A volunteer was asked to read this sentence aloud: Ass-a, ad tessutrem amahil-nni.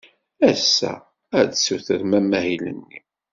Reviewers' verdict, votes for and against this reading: accepted, 2, 0